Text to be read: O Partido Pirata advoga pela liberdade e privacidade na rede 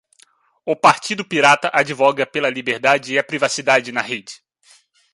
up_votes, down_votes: 2, 0